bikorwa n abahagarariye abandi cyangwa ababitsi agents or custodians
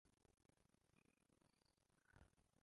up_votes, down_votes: 0, 2